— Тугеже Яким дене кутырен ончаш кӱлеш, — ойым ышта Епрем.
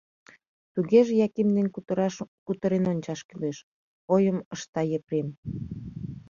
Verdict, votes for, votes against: rejected, 0, 2